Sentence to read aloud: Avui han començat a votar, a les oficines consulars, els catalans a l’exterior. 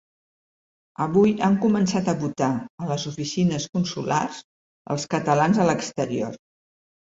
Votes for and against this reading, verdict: 2, 0, accepted